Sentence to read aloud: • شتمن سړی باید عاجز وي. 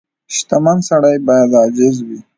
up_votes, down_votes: 2, 1